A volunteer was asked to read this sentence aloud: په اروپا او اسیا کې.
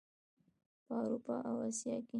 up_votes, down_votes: 0, 2